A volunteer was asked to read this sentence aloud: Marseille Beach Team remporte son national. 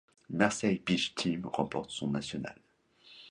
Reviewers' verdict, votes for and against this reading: accepted, 2, 0